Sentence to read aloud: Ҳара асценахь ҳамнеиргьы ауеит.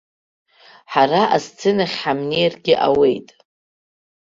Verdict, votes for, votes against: accepted, 2, 0